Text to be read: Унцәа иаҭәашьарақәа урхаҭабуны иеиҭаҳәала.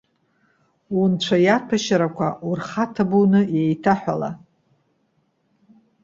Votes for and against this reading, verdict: 2, 0, accepted